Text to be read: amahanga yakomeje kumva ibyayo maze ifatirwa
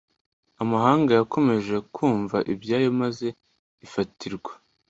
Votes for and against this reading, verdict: 2, 0, accepted